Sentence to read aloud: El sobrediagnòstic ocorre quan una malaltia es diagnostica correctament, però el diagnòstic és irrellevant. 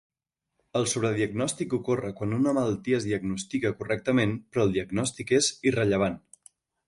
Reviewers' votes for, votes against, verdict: 2, 0, accepted